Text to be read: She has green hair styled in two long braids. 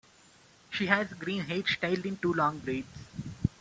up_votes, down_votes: 0, 2